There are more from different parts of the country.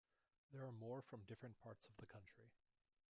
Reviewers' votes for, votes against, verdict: 2, 1, accepted